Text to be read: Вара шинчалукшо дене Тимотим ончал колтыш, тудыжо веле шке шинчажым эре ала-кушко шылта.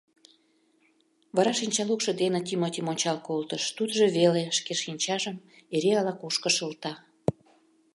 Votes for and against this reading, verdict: 2, 0, accepted